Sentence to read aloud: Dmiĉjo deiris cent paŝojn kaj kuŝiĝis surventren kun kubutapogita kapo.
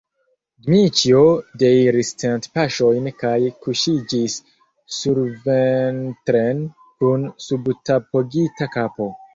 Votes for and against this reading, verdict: 2, 1, accepted